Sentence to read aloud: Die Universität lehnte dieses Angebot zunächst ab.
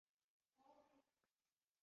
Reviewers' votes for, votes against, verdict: 0, 2, rejected